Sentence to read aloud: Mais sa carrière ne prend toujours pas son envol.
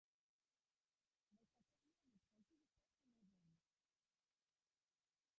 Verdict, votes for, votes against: rejected, 0, 2